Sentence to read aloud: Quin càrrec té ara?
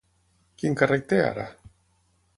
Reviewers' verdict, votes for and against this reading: accepted, 6, 0